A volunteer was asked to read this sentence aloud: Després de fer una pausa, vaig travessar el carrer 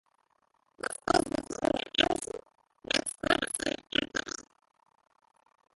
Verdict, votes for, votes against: rejected, 0, 2